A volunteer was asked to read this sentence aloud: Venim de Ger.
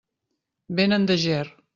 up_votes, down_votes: 0, 2